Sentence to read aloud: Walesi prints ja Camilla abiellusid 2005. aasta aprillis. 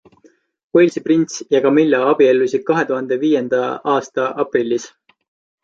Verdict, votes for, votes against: rejected, 0, 2